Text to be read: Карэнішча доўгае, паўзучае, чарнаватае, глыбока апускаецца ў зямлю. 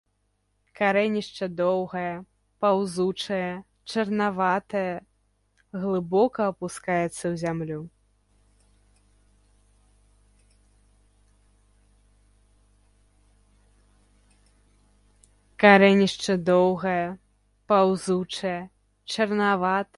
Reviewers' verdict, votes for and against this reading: rejected, 0, 2